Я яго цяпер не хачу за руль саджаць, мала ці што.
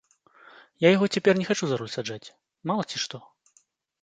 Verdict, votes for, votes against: accepted, 2, 0